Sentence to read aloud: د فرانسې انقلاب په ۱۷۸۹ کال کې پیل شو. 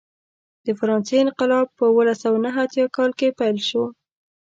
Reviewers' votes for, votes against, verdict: 0, 2, rejected